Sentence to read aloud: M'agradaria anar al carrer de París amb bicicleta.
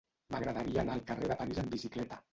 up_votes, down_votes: 0, 2